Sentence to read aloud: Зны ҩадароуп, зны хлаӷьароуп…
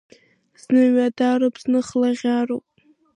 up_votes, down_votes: 2, 0